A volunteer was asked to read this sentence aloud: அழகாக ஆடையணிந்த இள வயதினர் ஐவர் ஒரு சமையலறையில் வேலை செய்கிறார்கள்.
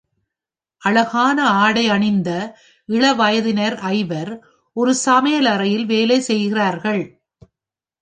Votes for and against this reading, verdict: 1, 2, rejected